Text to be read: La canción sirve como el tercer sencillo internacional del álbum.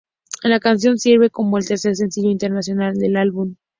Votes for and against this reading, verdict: 2, 0, accepted